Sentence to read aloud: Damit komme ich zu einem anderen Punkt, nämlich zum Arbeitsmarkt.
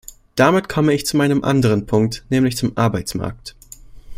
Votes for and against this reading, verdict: 1, 2, rejected